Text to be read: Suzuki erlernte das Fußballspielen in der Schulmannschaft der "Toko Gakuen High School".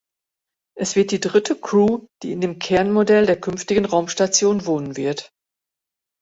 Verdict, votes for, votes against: rejected, 0, 2